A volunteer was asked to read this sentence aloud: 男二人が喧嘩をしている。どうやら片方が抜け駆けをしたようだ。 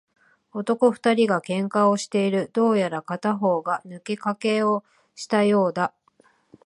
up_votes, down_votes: 0, 2